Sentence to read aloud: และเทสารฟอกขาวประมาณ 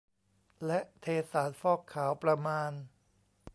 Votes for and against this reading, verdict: 2, 0, accepted